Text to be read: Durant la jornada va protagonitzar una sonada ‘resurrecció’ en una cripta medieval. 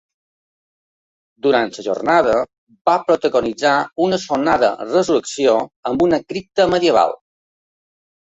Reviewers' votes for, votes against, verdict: 0, 2, rejected